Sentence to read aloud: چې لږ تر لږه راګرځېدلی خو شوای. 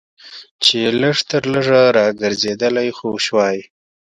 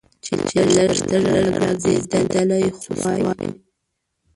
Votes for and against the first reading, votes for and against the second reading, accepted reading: 2, 0, 0, 2, first